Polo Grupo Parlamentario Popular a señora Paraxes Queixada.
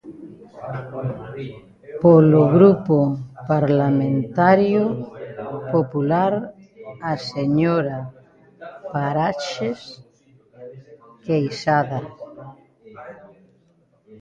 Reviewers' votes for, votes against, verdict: 0, 2, rejected